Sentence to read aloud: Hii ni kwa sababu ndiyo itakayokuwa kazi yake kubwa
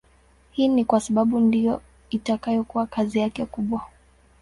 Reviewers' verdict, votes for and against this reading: accepted, 2, 0